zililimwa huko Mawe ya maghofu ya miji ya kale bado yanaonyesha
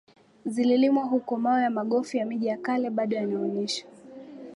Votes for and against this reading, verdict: 4, 0, accepted